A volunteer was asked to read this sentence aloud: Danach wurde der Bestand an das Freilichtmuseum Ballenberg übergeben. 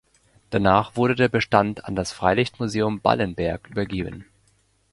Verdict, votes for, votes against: accepted, 2, 0